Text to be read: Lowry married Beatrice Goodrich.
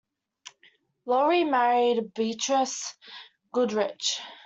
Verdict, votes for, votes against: accepted, 2, 0